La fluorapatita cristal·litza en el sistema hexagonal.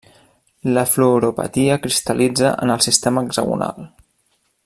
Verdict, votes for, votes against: rejected, 1, 2